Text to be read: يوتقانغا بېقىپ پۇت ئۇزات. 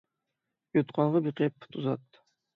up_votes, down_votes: 3, 6